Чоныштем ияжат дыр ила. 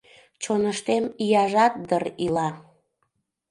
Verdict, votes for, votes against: accepted, 2, 0